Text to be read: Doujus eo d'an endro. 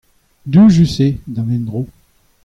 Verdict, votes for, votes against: accepted, 2, 0